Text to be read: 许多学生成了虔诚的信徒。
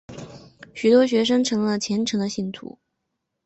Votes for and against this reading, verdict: 2, 0, accepted